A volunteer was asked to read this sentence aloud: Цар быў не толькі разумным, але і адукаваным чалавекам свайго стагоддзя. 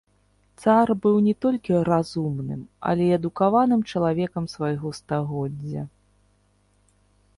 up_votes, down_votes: 0, 2